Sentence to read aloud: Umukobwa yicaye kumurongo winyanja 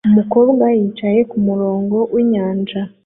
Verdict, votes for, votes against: accepted, 2, 0